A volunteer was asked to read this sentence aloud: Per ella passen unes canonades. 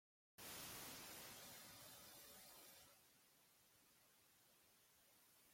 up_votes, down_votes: 0, 2